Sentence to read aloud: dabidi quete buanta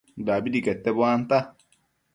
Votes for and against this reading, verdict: 2, 0, accepted